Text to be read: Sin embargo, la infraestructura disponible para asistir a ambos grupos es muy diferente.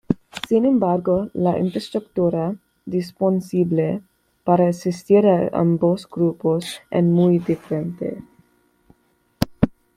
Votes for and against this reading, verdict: 1, 2, rejected